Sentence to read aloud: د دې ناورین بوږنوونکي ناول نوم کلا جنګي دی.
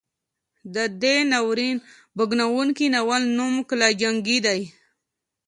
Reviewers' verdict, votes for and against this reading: accepted, 2, 0